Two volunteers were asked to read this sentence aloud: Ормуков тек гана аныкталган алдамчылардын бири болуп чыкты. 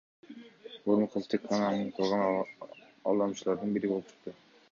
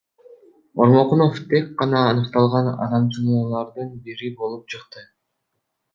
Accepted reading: first